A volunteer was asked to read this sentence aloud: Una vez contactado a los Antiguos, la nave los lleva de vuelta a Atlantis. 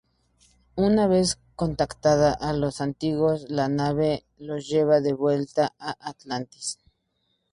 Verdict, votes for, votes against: rejected, 2, 2